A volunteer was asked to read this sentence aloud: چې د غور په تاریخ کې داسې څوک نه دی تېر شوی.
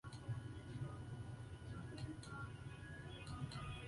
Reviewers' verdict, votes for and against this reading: rejected, 0, 2